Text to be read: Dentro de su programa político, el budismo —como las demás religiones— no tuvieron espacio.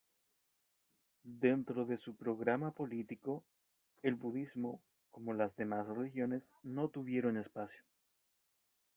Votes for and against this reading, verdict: 3, 0, accepted